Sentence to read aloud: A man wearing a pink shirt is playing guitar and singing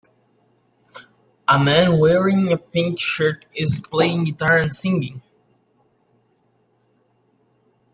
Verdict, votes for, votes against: rejected, 1, 2